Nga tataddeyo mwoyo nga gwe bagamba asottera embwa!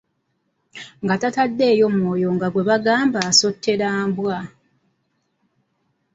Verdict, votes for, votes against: rejected, 1, 2